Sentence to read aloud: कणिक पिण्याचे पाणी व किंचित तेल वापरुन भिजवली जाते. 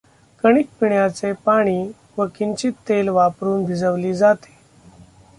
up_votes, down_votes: 1, 2